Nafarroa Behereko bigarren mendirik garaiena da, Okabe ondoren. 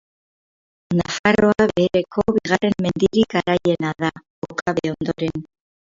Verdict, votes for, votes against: rejected, 0, 2